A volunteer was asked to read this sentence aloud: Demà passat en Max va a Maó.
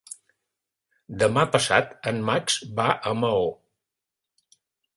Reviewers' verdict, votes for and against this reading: accepted, 4, 0